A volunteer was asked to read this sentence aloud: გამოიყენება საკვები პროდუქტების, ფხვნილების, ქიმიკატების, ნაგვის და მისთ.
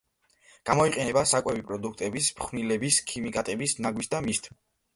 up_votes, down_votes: 1, 2